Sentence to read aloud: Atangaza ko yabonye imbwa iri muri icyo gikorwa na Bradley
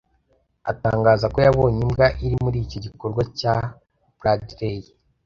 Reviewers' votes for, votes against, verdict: 0, 3, rejected